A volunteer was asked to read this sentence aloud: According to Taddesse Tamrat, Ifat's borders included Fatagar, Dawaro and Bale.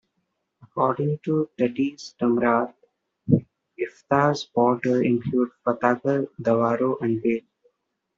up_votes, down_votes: 0, 2